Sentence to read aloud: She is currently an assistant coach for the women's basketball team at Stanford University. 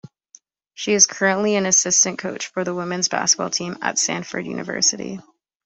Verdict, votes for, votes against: accepted, 2, 1